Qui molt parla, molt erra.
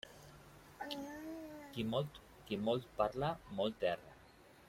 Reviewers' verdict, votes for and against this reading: rejected, 0, 2